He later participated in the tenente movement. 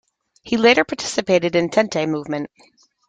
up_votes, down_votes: 2, 1